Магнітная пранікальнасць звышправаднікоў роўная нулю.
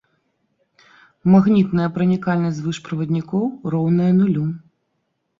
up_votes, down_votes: 2, 1